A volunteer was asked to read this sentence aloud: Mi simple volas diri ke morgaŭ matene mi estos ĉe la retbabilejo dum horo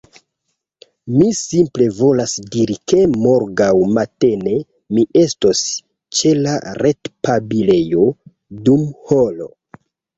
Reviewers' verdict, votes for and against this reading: rejected, 0, 2